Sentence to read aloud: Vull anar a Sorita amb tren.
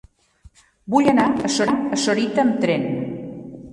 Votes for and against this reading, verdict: 0, 2, rejected